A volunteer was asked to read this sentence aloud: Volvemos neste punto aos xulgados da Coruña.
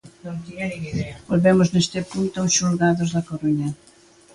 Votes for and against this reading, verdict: 2, 1, accepted